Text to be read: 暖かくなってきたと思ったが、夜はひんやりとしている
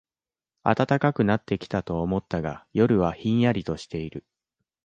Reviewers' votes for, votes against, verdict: 2, 0, accepted